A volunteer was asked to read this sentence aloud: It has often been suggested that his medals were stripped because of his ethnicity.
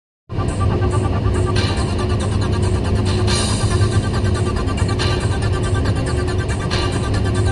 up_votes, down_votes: 0, 2